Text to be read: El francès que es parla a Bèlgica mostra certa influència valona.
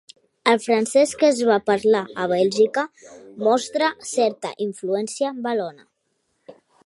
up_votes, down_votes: 1, 2